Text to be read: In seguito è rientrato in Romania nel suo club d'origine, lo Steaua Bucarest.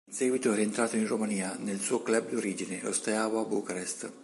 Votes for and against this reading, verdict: 2, 0, accepted